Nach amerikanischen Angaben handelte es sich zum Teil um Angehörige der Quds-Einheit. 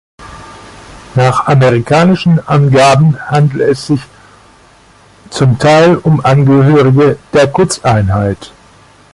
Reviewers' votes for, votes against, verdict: 0, 2, rejected